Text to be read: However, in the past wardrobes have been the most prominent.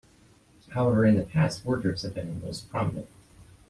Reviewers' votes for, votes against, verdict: 2, 0, accepted